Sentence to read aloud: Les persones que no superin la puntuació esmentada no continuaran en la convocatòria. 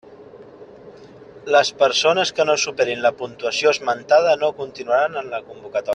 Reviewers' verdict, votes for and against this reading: rejected, 0, 2